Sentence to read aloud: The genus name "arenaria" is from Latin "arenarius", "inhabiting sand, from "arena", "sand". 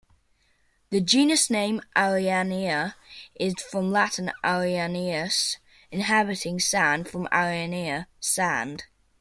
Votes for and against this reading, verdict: 1, 2, rejected